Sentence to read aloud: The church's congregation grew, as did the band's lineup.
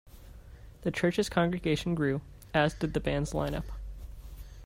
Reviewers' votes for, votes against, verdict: 1, 2, rejected